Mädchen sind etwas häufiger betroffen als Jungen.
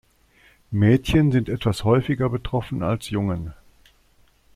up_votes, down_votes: 2, 0